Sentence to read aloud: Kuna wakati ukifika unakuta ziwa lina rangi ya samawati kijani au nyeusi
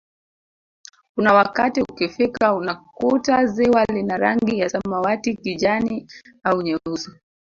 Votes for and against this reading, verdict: 1, 3, rejected